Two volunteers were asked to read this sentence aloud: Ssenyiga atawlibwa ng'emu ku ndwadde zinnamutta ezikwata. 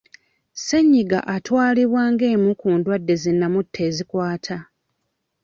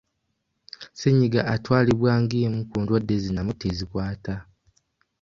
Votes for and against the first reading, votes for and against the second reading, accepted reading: 1, 2, 2, 1, second